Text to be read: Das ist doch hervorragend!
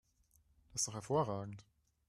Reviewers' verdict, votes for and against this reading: rejected, 1, 2